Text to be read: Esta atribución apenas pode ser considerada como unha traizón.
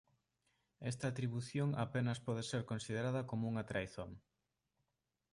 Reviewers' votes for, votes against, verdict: 2, 0, accepted